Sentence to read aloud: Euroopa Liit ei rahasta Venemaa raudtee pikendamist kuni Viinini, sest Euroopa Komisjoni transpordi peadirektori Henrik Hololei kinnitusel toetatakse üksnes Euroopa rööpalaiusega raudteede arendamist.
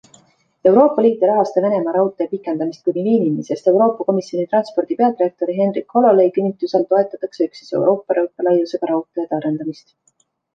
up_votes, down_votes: 1, 2